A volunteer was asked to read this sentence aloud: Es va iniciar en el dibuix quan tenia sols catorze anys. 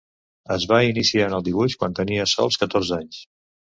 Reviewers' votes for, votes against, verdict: 2, 0, accepted